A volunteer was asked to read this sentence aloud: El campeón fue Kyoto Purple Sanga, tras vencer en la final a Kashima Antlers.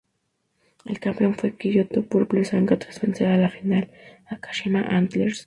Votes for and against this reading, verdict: 2, 0, accepted